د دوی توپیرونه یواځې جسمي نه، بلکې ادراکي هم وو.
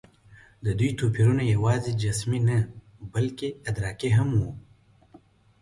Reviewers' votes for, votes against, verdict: 2, 0, accepted